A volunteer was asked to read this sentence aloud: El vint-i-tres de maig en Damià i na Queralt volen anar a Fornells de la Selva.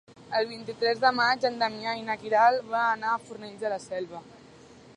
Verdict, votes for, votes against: rejected, 1, 2